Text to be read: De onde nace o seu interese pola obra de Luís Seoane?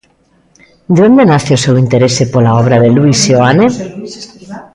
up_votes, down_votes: 1, 2